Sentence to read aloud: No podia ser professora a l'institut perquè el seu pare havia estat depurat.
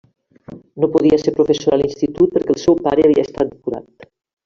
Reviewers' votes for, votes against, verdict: 2, 1, accepted